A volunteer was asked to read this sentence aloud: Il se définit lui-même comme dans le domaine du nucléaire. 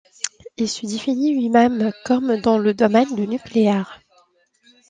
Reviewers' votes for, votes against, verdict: 2, 1, accepted